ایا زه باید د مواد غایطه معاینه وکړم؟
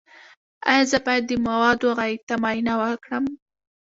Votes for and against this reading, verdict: 2, 1, accepted